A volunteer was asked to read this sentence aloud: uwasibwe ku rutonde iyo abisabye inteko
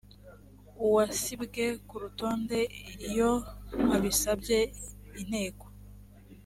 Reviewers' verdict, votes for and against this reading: accepted, 2, 0